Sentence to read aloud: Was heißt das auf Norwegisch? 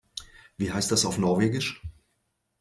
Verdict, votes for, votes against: rejected, 0, 2